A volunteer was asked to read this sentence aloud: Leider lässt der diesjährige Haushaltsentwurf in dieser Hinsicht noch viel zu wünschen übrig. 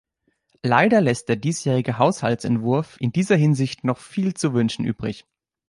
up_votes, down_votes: 2, 0